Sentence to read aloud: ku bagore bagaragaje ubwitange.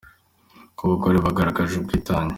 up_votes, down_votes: 3, 0